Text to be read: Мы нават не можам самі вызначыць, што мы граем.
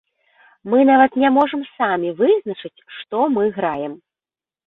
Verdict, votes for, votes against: accepted, 2, 0